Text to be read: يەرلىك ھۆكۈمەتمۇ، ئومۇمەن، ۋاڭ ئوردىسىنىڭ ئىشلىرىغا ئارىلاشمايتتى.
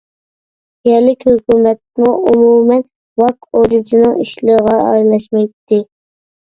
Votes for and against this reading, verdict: 0, 2, rejected